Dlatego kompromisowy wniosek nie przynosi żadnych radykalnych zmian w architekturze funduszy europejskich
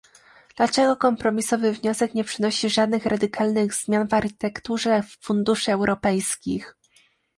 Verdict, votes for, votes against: rejected, 1, 2